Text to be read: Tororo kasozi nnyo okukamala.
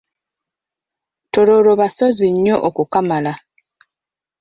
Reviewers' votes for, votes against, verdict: 1, 2, rejected